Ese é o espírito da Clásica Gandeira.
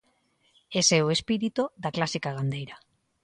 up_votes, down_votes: 2, 0